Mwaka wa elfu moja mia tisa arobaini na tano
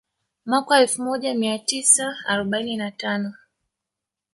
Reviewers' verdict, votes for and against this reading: rejected, 0, 2